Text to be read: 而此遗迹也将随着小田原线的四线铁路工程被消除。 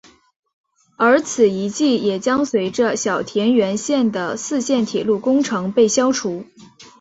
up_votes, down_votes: 2, 0